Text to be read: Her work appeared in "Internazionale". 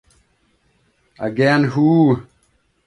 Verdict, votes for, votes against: rejected, 0, 2